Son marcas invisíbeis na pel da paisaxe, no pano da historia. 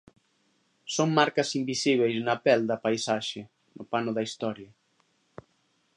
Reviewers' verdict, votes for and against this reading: rejected, 1, 2